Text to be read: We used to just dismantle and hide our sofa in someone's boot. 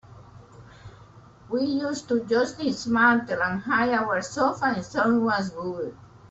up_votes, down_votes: 1, 2